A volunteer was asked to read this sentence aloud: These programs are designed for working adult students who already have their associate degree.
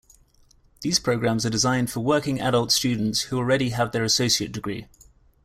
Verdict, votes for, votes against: rejected, 1, 2